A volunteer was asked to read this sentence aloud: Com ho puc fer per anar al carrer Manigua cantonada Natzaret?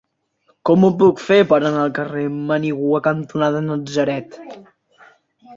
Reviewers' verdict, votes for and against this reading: accepted, 2, 0